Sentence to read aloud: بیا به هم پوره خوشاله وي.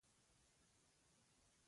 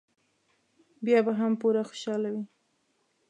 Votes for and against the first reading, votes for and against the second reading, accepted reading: 2, 1, 1, 2, first